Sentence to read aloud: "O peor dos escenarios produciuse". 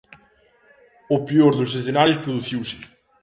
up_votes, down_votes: 2, 0